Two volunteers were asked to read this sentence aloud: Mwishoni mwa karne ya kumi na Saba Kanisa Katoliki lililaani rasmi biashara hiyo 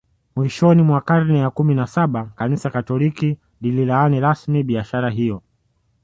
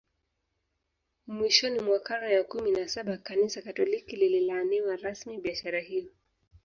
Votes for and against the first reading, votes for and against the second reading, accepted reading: 2, 0, 0, 2, first